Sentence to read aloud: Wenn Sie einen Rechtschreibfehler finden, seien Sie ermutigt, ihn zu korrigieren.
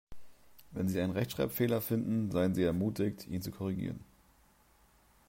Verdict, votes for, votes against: accepted, 2, 0